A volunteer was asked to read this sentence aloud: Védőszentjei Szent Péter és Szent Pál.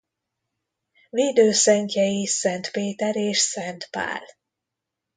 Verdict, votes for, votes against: accepted, 2, 0